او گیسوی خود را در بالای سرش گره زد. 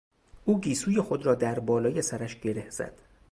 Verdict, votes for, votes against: accepted, 2, 0